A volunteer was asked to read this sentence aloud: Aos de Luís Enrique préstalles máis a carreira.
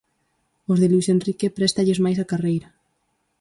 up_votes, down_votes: 4, 0